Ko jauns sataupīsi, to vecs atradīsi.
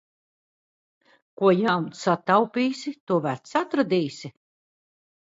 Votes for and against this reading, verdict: 2, 0, accepted